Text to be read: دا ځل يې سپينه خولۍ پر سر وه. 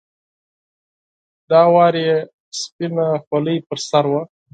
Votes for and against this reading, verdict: 2, 4, rejected